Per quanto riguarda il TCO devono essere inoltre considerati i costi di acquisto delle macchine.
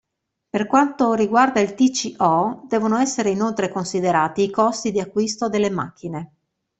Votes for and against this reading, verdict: 2, 0, accepted